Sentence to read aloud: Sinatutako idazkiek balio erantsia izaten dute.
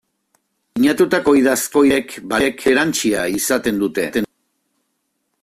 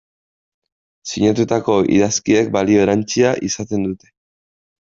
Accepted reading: second